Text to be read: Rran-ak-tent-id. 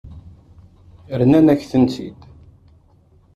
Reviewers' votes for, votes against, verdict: 2, 3, rejected